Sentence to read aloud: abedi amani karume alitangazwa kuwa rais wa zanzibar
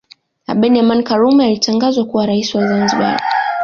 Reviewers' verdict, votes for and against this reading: accepted, 2, 0